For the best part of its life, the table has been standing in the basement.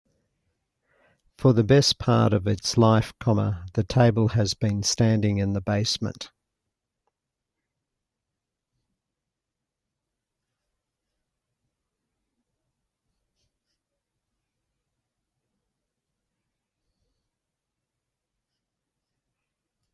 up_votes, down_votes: 2, 3